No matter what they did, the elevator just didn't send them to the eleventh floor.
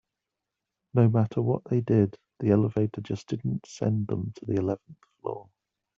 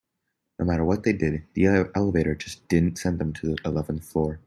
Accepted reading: first